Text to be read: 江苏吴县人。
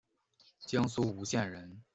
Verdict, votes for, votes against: accepted, 2, 0